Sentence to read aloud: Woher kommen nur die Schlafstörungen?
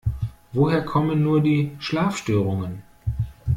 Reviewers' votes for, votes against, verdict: 2, 0, accepted